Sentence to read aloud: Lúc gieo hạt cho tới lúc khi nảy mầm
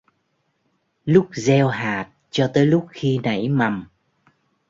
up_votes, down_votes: 3, 0